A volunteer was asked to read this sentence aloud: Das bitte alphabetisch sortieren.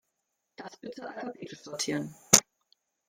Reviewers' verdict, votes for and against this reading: rejected, 0, 2